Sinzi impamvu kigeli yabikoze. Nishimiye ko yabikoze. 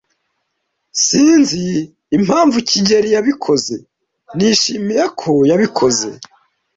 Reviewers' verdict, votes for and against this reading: accepted, 2, 0